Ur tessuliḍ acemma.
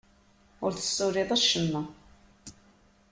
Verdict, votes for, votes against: accepted, 2, 0